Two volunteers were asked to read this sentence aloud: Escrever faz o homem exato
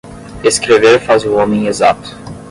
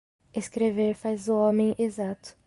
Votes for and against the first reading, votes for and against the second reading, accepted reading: 5, 5, 2, 0, second